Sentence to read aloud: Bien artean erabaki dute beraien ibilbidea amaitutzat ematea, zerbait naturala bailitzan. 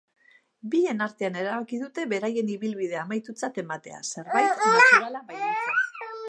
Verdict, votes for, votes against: rejected, 0, 2